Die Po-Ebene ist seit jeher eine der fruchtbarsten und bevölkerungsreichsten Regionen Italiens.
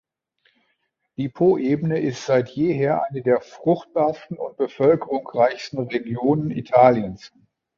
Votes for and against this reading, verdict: 1, 2, rejected